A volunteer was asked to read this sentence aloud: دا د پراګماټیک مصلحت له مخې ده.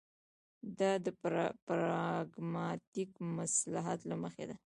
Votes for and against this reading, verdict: 1, 2, rejected